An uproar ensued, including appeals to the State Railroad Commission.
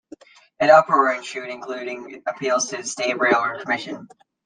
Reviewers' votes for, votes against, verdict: 2, 0, accepted